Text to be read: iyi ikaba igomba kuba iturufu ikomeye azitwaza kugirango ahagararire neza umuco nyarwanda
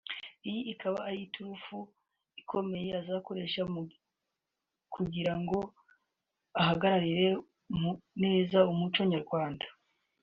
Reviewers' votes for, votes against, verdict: 0, 2, rejected